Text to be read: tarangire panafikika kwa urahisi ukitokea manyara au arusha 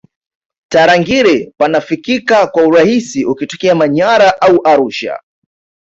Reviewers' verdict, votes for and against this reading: accepted, 2, 0